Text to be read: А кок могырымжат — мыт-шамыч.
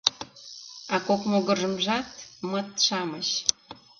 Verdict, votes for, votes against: rejected, 0, 2